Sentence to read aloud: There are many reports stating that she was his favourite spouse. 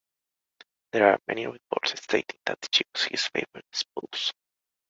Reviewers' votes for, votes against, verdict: 1, 2, rejected